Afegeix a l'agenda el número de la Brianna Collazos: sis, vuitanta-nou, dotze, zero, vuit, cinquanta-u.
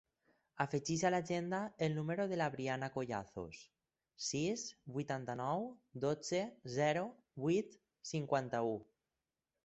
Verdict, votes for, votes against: accepted, 4, 0